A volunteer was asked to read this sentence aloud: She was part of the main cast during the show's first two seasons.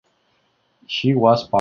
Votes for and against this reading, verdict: 1, 2, rejected